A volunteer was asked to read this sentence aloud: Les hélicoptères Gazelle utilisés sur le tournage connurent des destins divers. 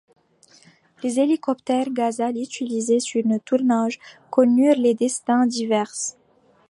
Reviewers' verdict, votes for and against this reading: rejected, 1, 2